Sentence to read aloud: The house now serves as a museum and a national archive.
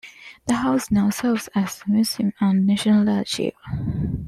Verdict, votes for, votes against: accepted, 2, 1